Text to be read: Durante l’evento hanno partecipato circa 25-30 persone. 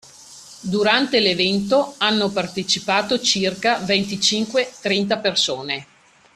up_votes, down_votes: 0, 2